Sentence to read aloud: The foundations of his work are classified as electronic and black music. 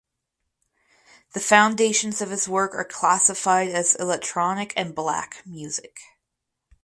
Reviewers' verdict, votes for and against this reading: rejected, 2, 2